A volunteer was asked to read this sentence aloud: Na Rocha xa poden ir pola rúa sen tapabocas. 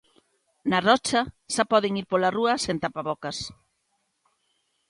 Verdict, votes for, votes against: accepted, 2, 0